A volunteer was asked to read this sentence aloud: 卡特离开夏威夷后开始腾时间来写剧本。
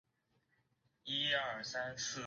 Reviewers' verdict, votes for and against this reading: rejected, 0, 2